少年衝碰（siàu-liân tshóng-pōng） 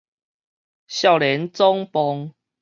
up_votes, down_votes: 0, 4